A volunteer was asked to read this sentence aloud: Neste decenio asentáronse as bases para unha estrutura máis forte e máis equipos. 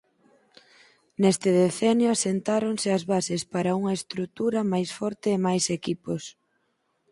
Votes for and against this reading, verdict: 6, 8, rejected